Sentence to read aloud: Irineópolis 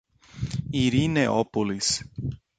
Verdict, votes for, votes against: accepted, 2, 0